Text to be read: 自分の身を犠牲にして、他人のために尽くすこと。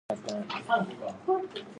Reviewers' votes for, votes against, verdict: 0, 2, rejected